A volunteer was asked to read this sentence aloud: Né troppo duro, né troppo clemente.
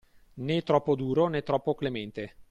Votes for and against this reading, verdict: 2, 0, accepted